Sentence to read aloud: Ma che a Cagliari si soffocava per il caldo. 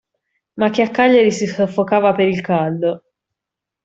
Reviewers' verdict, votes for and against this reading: accepted, 2, 0